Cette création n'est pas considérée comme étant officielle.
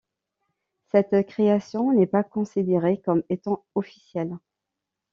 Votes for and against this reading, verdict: 2, 0, accepted